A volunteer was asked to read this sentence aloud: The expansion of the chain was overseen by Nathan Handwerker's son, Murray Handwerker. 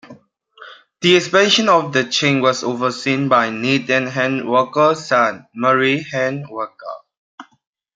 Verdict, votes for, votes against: rejected, 1, 2